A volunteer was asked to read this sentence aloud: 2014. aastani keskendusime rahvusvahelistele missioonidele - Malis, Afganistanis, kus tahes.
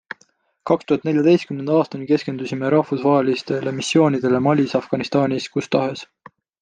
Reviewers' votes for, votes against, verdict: 0, 2, rejected